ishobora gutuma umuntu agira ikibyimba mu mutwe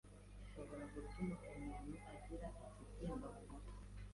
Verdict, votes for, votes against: rejected, 0, 2